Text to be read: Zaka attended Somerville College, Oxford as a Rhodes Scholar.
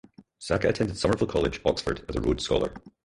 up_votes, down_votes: 2, 4